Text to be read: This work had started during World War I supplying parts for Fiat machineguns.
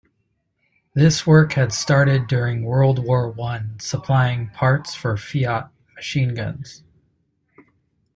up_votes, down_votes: 2, 1